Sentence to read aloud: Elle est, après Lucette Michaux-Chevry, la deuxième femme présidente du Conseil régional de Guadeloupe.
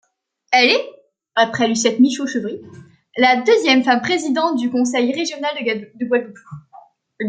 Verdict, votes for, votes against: rejected, 0, 2